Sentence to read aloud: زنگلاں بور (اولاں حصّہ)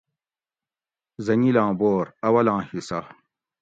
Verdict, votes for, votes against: accepted, 2, 0